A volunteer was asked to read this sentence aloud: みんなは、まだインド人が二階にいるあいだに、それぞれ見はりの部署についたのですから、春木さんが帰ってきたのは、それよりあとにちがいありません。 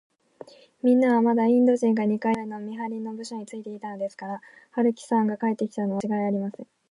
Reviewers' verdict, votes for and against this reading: rejected, 1, 2